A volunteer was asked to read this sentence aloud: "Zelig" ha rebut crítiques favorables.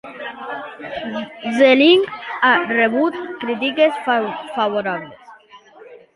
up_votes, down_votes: 0, 3